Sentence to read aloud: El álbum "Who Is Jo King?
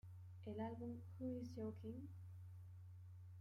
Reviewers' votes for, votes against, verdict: 0, 2, rejected